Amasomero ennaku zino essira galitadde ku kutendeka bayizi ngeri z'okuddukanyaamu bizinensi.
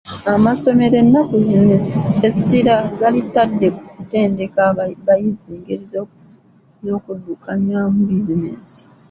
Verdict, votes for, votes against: rejected, 0, 2